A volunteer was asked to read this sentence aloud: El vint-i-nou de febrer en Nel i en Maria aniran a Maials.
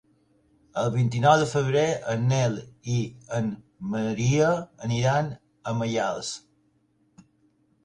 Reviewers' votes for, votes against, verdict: 3, 0, accepted